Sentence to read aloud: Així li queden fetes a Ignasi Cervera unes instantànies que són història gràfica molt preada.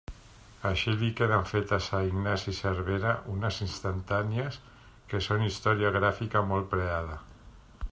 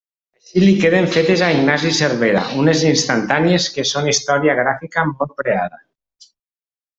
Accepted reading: first